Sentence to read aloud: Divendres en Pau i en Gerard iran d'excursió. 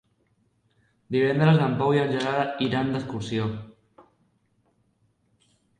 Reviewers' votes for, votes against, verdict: 3, 0, accepted